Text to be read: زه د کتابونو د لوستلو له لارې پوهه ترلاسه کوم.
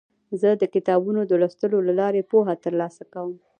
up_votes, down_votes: 0, 2